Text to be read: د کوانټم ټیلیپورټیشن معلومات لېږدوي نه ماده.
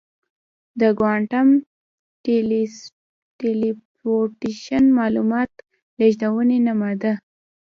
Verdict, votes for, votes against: rejected, 1, 2